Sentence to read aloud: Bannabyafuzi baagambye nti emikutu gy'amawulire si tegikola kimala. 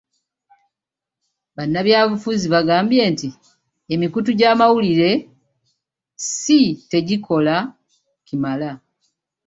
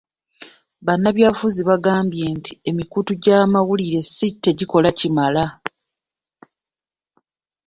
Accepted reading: first